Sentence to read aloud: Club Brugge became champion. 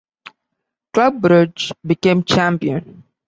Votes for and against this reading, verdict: 2, 0, accepted